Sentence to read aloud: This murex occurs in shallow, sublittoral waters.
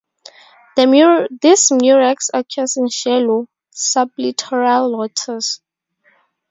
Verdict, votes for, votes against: rejected, 0, 2